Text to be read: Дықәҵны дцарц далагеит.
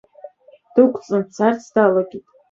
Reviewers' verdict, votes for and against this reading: rejected, 1, 2